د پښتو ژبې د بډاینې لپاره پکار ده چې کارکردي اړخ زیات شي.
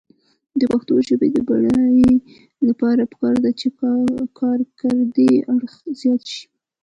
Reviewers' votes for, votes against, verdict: 0, 2, rejected